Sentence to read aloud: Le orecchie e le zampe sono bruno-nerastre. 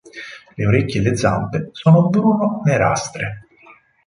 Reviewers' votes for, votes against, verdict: 4, 0, accepted